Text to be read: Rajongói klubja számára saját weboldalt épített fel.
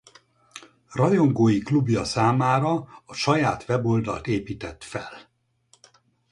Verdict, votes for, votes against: rejected, 2, 4